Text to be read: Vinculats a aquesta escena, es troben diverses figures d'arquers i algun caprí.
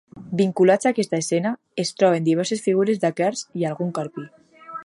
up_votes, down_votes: 1, 2